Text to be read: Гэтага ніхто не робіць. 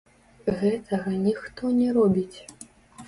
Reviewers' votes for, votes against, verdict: 1, 2, rejected